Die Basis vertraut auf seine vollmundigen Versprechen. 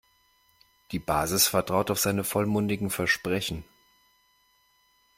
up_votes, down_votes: 2, 0